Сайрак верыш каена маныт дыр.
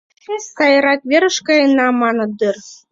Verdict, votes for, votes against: rejected, 1, 2